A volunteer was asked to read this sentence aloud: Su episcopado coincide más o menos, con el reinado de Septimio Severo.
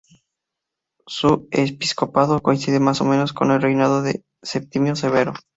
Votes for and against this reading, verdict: 0, 2, rejected